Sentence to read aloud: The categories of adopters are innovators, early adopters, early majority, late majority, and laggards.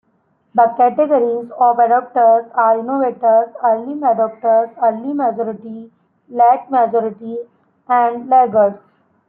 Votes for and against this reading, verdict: 0, 2, rejected